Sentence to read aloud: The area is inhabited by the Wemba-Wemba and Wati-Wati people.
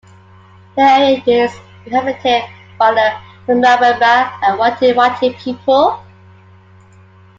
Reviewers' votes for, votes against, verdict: 0, 2, rejected